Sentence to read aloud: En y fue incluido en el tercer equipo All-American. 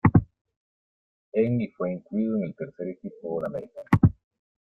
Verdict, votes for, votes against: accepted, 2, 1